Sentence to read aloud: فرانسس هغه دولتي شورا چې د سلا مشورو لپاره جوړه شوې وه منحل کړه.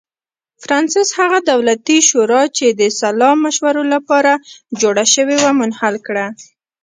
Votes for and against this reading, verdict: 0, 2, rejected